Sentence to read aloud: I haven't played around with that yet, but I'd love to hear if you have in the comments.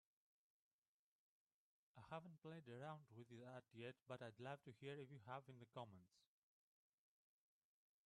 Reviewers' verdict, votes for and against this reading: rejected, 0, 2